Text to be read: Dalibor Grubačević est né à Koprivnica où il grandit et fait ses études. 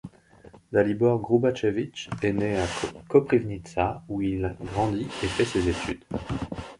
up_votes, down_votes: 0, 2